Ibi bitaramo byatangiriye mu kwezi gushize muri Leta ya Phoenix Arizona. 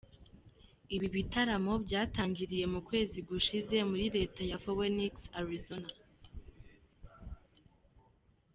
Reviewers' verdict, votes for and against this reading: accepted, 2, 0